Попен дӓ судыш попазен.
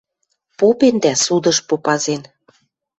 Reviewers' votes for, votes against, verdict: 2, 0, accepted